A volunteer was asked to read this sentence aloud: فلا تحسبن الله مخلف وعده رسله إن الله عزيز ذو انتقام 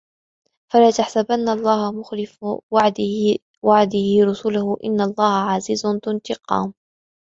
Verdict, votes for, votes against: rejected, 0, 2